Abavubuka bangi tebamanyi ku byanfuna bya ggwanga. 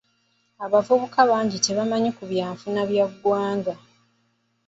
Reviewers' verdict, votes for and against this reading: accepted, 2, 1